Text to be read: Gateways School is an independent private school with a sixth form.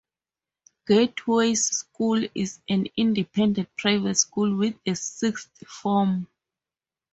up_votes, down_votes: 2, 0